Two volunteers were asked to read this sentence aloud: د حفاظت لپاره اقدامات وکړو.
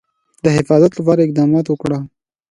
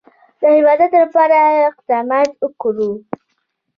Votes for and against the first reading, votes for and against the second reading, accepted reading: 2, 0, 0, 2, first